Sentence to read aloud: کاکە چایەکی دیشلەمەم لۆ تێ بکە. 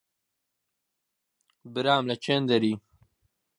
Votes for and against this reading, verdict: 0, 2, rejected